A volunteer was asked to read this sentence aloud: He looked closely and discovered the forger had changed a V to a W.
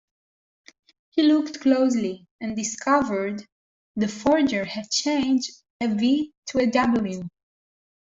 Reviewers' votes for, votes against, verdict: 2, 0, accepted